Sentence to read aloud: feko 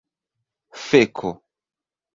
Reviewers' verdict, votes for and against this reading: accepted, 2, 0